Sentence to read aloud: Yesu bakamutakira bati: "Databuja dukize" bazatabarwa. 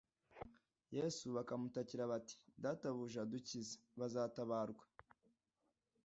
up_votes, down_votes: 2, 0